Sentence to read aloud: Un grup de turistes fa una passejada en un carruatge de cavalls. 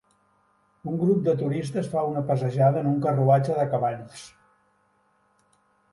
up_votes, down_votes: 2, 0